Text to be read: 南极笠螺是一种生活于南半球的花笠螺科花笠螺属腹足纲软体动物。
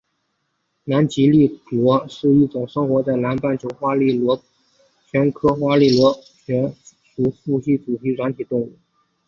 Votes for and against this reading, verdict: 2, 4, rejected